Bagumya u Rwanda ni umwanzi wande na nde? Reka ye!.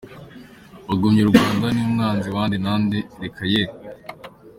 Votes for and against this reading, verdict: 2, 0, accepted